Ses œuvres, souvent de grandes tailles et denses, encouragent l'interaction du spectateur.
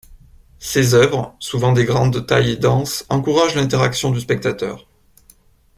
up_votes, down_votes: 1, 2